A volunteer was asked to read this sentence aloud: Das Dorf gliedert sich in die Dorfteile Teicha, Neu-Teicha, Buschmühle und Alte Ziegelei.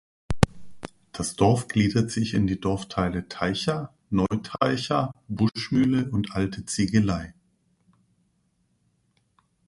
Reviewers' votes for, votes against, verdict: 1, 2, rejected